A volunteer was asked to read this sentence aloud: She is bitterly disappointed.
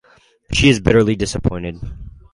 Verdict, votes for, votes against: accepted, 4, 0